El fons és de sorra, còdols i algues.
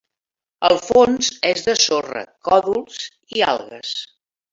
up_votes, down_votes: 4, 2